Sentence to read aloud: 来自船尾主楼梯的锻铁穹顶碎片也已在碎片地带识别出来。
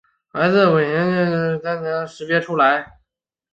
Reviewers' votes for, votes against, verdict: 3, 5, rejected